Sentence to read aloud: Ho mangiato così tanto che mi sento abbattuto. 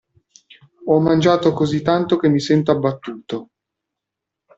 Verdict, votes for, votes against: accepted, 2, 0